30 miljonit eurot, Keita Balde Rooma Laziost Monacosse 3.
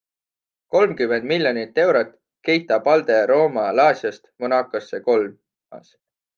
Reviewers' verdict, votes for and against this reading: rejected, 0, 2